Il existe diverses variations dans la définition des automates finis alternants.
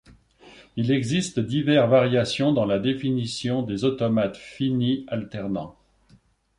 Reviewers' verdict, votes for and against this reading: rejected, 0, 2